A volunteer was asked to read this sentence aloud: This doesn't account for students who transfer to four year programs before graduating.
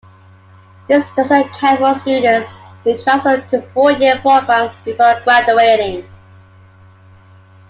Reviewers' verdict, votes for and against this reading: accepted, 2, 1